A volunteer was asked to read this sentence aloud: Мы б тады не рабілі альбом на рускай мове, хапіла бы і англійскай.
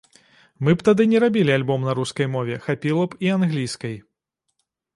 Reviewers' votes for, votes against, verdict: 0, 2, rejected